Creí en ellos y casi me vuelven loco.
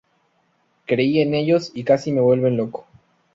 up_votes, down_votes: 2, 0